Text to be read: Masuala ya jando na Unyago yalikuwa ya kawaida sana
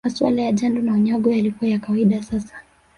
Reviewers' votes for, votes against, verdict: 1, 2, rejected